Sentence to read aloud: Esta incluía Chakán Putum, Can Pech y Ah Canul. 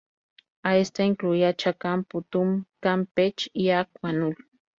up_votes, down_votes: 0, 2